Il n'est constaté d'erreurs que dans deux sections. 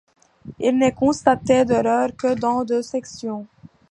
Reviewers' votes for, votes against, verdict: 2, 0, accepted